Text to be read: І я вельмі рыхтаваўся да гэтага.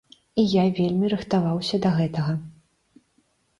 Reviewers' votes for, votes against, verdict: 2, 0, accepted